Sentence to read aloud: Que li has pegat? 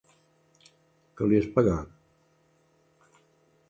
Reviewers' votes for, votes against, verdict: 3, 0, accepted